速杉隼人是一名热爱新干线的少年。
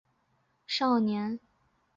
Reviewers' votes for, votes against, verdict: 2, 5, rejected